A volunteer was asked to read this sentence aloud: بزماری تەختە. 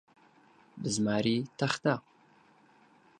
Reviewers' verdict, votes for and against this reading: accepted, 12, 0